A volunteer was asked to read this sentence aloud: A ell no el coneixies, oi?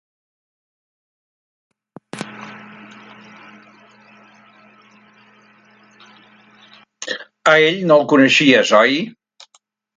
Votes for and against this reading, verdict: 3, 1, accepted